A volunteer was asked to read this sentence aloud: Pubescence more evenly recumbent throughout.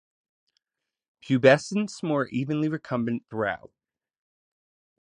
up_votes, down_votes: 2, 0